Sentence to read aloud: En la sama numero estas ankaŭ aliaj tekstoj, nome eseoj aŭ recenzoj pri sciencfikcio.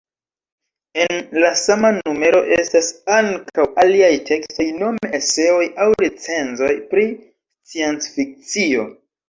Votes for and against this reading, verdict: 0, 2, rejected